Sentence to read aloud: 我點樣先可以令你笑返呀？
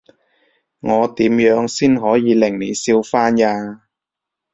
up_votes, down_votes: 2, 0